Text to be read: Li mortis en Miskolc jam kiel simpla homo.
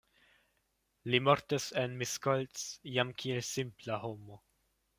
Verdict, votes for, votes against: accepted, 2, 0